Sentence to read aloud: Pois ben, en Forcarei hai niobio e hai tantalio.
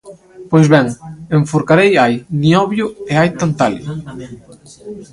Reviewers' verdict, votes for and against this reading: rejected, 1, 2